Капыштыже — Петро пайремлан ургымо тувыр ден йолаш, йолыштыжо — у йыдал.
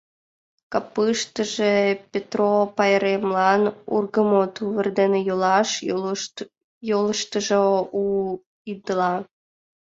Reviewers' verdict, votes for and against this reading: rejected, 0, 2